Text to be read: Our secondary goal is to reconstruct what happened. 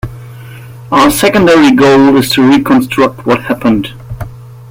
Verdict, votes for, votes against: accepted, 2, 0